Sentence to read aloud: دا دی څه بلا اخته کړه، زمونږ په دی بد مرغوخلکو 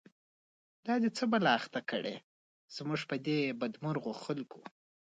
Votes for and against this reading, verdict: 2, 1, accepted